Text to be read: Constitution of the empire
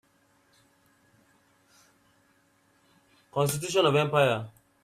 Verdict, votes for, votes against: rejected, 0, 2